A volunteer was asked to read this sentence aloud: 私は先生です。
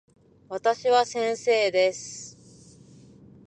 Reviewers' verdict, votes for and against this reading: accepted, 2, 0